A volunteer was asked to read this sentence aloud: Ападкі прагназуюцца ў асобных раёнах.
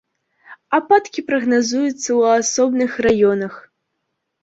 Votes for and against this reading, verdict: 2, 0, accepted